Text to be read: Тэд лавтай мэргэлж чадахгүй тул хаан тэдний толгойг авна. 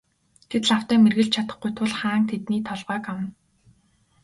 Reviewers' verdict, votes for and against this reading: accepted, 2, 0